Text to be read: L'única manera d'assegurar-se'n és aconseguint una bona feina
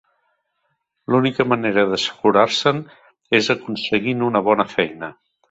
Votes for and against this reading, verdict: 3, 0, accepted